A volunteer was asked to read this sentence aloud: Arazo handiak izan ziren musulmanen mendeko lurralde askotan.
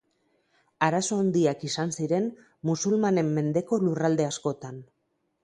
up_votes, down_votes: 4, 2